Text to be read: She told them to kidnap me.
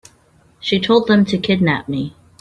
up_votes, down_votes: 3, 0